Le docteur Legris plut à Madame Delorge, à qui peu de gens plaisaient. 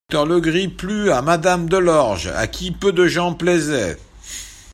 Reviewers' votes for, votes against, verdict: 0, 2, rejected